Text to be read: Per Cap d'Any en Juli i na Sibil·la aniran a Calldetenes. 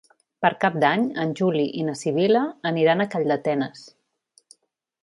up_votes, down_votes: 2, 0